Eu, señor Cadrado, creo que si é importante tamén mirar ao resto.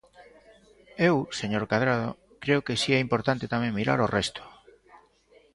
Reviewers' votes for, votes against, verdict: 2, 0, accepted